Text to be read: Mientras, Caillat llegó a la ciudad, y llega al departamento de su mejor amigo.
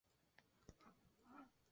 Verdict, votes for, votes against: rejected, 0, 2